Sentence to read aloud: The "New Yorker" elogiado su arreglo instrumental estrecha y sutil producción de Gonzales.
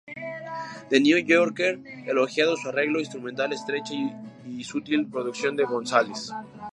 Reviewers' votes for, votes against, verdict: 0, 2, rejected